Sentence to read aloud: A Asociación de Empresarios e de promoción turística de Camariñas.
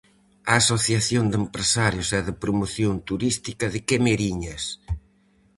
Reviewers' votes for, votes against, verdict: 0, 4, rejected